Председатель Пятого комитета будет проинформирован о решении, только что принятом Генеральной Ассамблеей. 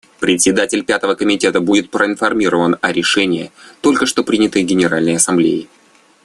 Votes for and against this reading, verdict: 2, 1, accepted